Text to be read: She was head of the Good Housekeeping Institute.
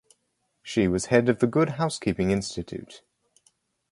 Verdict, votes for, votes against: accepted, 4, 0